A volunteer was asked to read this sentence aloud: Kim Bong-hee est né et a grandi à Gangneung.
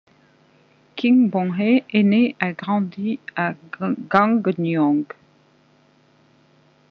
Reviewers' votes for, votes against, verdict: 1, 2, rejected